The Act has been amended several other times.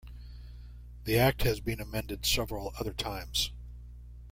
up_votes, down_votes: 2, 0